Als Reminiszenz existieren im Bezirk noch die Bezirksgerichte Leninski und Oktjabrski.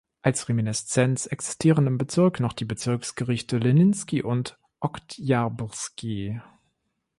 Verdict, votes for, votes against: rejected, 0, 2